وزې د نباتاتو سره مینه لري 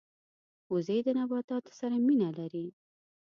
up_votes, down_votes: 2, 0